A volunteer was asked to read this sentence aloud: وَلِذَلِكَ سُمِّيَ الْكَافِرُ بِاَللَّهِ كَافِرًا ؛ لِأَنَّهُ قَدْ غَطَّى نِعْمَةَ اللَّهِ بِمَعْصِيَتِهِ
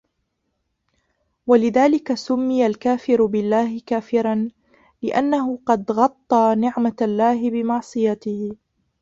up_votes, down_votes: 0, 2